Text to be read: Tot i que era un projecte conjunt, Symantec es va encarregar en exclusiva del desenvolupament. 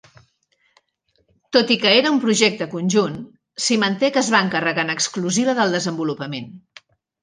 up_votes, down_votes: 2, 0